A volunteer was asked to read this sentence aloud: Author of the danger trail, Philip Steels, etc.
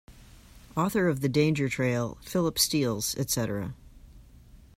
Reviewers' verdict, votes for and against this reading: accepted, 2, 0